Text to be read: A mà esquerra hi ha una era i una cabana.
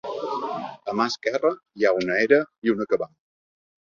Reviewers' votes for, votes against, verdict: 1, 2, rejected